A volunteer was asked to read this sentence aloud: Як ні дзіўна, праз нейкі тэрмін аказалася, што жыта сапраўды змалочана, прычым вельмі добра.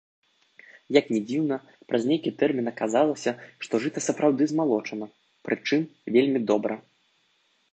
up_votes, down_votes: 2, 0